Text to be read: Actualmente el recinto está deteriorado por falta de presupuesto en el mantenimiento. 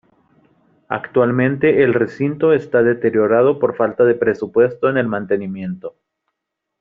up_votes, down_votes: 2, 0